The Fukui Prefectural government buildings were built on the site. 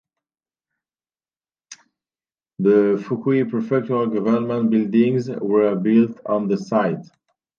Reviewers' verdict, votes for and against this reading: rejected, 1, 3